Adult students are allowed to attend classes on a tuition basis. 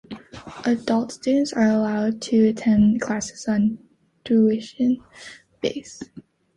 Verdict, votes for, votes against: rejected, 1, 2